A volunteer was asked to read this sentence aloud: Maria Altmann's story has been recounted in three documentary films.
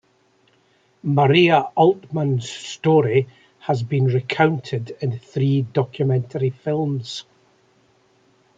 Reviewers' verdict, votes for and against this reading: rejected, 1, 2